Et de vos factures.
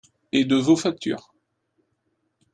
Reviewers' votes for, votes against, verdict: 2, 0, accepted